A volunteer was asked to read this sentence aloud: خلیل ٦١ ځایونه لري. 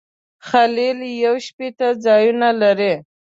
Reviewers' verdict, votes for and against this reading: rejected, 0, 2